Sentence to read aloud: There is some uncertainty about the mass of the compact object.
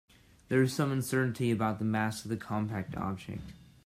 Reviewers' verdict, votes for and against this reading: accepted, 2, 0